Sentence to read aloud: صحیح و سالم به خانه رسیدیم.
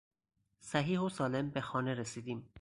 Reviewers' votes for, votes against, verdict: 2, 0, accepted